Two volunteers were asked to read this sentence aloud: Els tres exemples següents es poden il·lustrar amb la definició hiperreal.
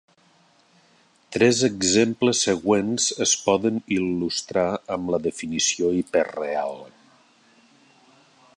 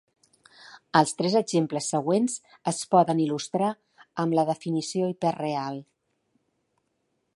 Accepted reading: second